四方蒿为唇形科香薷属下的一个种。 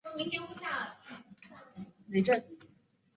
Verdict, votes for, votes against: rejected, 0, 3